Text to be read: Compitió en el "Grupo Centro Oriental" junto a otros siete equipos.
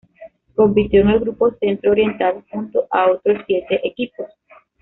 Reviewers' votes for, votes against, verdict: 2, 0, accepted